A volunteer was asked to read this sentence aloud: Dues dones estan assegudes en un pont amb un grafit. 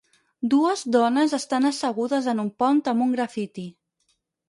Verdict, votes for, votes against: rejected, 0, 4